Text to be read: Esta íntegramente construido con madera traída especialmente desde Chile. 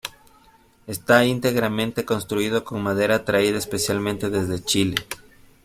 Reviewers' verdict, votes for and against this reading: accepted, 2, 0